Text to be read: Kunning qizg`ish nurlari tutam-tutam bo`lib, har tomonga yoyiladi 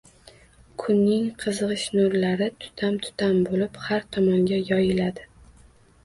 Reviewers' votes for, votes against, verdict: 2, 0, accepted